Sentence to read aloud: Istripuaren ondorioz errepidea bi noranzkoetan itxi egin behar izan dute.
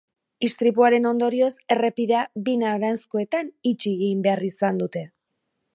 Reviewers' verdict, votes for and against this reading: accepted, 2, 0